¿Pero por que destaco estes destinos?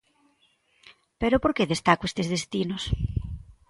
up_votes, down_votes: 2, 0